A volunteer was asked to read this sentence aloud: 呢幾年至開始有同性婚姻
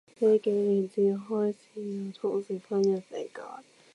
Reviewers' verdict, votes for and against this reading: rejected, 1, 2